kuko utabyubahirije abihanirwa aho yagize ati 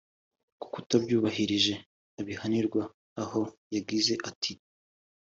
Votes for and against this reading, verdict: 3, 0, accepted